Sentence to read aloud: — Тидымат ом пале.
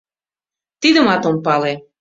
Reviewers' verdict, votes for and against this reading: accepted, 2, 0